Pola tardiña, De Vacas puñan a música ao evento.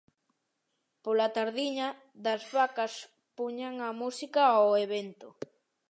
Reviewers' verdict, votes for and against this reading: rejected, 0, 2